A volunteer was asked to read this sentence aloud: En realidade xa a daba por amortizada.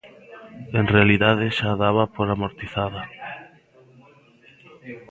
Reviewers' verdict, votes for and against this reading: accepted, 2, 0